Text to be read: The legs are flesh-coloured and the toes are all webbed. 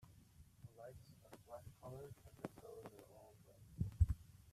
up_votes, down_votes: 0, 2